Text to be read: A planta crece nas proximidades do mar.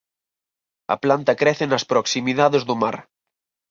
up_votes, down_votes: 4, 0